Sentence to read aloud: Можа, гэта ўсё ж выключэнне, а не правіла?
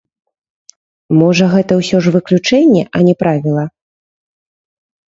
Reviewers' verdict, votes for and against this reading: rejected, 0, 2